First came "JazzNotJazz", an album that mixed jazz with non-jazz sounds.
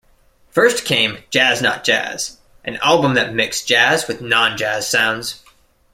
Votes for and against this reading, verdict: 2, 0, accepted